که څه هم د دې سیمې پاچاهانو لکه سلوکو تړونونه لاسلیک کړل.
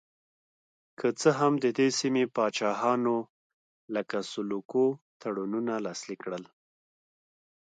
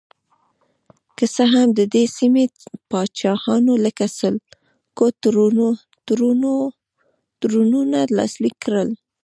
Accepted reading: first